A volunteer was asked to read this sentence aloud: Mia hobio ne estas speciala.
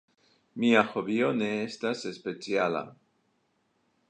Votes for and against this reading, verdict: 2, 1, accepted